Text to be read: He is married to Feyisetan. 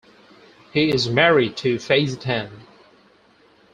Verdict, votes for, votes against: accepted, 4, 0